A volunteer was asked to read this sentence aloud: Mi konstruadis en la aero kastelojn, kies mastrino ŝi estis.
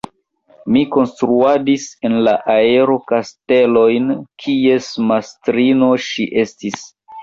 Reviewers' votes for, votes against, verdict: 2, 1, accepted